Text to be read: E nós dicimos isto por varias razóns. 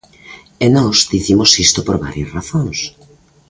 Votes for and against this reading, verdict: 2, 0, accepted